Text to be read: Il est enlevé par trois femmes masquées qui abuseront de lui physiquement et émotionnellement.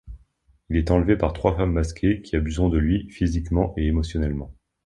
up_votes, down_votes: 2, 0